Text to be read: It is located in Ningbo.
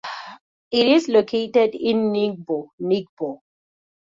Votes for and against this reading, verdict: 0, 2, rejected